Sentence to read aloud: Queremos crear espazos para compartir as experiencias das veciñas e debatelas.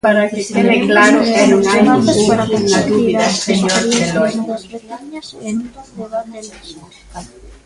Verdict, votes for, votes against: rejected, 0, 2